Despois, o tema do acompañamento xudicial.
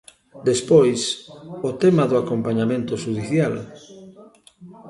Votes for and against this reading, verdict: 1, 2, rejected